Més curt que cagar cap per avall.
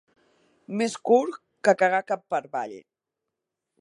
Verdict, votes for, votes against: rejected, 1, 2